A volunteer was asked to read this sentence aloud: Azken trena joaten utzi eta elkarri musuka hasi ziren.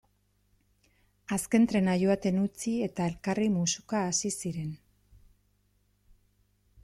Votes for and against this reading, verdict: 2, 0, accepted